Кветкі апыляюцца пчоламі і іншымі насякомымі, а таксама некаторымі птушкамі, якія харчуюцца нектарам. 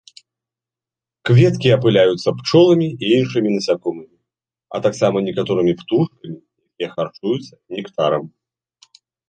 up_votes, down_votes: 0, 2